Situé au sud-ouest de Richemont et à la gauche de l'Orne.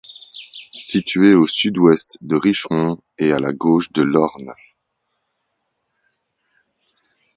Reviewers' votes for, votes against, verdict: 2, 0, accepted